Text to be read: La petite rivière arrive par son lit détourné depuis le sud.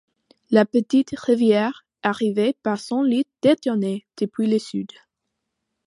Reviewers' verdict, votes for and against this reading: rejected, 0, 2